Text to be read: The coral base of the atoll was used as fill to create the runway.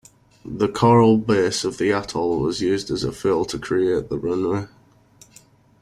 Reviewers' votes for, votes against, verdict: 1, 2, rejected